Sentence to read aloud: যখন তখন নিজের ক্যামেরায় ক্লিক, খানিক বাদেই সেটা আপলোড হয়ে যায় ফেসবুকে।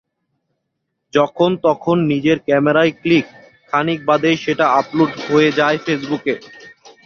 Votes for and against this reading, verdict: 2, 0, accepted